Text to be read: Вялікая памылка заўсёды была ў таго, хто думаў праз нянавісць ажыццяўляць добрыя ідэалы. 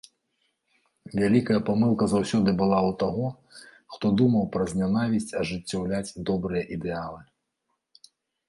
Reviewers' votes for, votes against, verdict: 2, 0, accepted